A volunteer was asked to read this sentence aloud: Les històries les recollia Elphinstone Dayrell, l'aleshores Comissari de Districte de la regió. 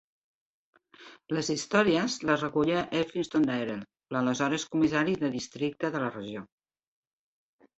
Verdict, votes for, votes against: accepted, 3, 0